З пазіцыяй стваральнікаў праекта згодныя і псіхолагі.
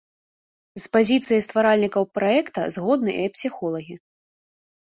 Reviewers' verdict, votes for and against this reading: accepted, 3, 0